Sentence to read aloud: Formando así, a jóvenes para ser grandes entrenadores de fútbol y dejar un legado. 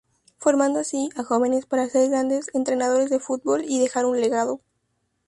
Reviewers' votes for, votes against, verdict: 4, 0, accepted